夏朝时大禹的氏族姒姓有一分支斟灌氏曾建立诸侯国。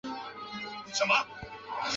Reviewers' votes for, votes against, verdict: 0, 2, rejected